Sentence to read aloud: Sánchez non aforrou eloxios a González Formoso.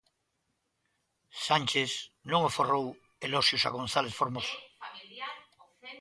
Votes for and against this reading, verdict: 0, 2, rejected